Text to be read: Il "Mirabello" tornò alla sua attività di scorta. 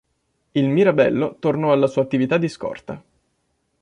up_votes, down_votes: 2, 0